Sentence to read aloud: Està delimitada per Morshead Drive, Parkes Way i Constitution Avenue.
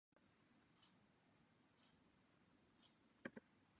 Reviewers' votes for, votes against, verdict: 0, 2, rejected